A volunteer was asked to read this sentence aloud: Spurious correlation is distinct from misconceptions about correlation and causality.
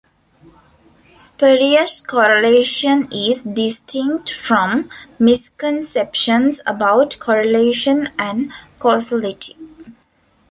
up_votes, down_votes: 1, 2